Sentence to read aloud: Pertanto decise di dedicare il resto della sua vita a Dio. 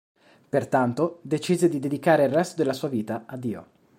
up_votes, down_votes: 2, 0